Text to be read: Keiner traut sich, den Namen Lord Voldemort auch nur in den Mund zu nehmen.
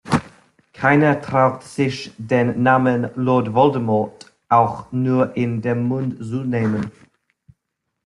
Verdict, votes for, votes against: rejected, 1, 2